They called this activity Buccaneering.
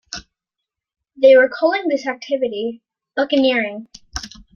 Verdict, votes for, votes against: rejected, 2, 3